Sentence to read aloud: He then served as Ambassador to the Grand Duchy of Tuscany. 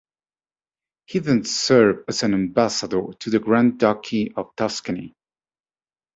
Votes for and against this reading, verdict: 1, 2, rejected